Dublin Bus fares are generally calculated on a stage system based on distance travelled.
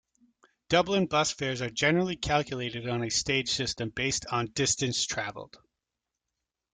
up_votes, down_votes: 2, 0